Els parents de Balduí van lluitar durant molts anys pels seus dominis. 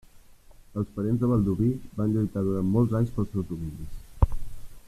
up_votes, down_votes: 1, 2